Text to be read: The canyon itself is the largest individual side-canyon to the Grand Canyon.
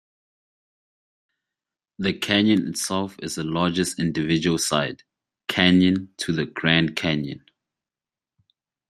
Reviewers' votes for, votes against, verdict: 2, 1, accepted